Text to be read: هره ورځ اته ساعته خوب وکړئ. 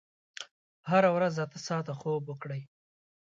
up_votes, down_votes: 2, 0